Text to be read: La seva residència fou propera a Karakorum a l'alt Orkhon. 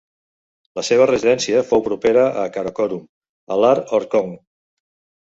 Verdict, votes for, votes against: rejected, 1, 2